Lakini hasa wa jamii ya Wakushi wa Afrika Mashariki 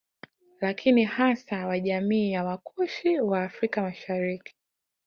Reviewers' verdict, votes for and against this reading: accepted, 3, 0